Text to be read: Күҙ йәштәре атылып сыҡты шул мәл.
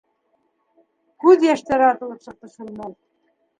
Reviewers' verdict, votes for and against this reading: rejected, 1, 2